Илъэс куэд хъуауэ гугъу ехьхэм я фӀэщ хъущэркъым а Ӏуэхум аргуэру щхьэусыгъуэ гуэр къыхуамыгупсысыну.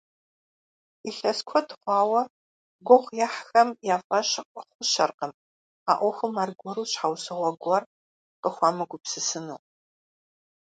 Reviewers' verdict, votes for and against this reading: rejected, 1, 2